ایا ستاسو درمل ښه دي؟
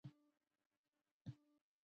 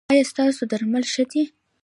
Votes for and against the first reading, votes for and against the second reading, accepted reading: 0, 2, 2, 0, second